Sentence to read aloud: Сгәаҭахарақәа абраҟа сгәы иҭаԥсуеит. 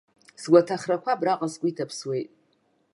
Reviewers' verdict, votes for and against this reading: accepted, 2, 0